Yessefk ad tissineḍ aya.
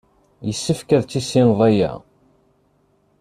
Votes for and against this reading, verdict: 2, 0, accepted